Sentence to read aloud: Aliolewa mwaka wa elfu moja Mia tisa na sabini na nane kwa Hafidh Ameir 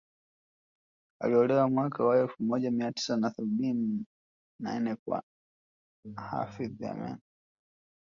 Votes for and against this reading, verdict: 1, 2, rejected